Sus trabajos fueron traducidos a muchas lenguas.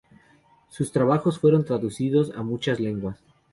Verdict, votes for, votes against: accepted, 2, 0